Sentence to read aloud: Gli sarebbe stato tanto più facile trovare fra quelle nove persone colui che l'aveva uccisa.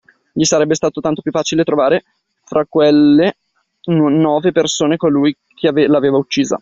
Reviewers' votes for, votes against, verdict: 1, 2, rejected